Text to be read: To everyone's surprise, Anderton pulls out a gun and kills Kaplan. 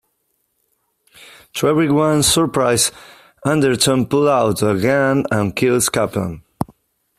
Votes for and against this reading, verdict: 0, 2, rejected